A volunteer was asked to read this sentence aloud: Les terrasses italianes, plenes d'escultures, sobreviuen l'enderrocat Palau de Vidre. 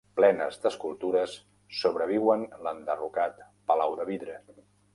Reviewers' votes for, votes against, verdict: 0, 2, rejected